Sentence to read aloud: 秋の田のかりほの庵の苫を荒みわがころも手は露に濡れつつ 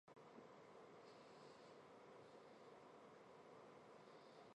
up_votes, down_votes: 0, 3